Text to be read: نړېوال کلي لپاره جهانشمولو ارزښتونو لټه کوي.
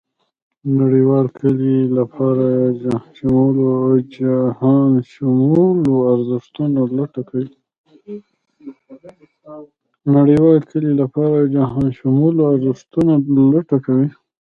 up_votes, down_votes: 1, 2